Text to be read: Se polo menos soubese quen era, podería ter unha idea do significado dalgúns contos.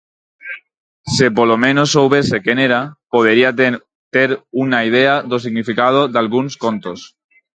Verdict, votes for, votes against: rejected, 0, 4